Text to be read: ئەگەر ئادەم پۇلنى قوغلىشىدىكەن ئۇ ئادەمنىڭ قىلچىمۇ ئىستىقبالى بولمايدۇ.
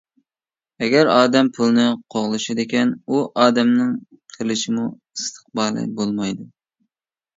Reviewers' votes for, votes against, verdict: 0, 2, rejected